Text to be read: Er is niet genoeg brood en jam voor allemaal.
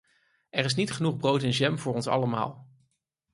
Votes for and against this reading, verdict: 0, 4, rejected